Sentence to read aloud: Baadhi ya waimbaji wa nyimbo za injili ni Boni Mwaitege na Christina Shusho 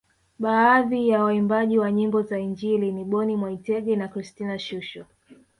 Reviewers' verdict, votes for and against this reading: rejected, 1, 2